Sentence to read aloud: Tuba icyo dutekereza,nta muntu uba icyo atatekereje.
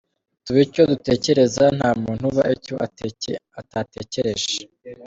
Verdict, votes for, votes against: accepted, 2, 0